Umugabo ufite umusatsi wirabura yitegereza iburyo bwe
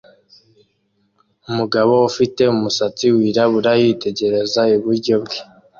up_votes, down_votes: 2, 0